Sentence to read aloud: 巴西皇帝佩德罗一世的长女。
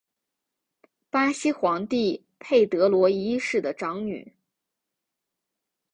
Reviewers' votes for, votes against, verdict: 5, 0, accepted